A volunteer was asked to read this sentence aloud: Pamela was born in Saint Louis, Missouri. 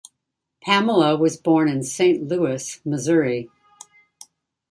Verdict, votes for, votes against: rejected, 1, 2